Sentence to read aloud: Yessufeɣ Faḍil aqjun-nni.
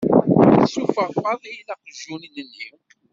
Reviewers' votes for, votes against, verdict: 1, 2, rejected